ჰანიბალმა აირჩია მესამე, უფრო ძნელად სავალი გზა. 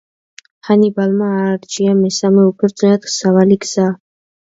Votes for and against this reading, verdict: 0, 2, rejected